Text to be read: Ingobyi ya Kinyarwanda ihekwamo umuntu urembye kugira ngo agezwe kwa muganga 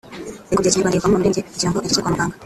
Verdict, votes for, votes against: rejected, 0, 2